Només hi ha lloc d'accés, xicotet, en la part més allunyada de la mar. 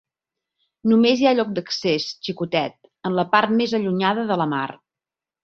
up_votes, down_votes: 2, 0